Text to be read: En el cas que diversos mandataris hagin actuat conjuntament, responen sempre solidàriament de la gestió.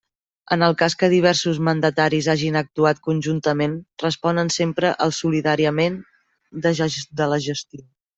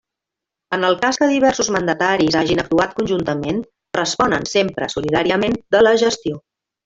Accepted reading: second